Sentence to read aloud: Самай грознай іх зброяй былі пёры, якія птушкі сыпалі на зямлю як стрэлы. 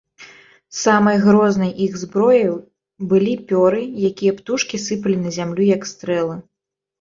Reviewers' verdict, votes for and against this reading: rejected, 0, 2